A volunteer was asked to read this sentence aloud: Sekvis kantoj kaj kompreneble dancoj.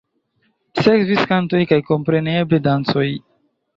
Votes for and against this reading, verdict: 1, 2, rejected